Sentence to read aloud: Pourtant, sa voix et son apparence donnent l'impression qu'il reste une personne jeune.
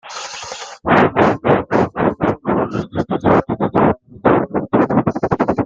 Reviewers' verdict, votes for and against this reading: rejected, 0, 2